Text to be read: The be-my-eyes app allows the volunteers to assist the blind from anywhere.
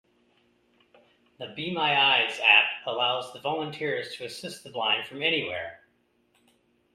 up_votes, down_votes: 2, 1